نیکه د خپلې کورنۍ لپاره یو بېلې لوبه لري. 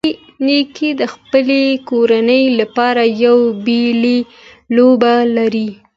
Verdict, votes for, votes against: accepted, 2, 1